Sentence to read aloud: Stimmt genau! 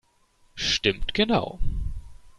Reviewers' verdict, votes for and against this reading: accepted, 2, 0